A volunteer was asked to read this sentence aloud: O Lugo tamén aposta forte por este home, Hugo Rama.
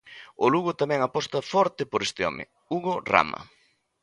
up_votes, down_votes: 2, 0